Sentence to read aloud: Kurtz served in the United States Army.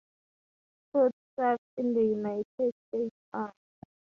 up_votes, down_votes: 0, 2